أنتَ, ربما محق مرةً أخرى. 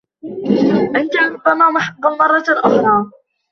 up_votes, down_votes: 0, 2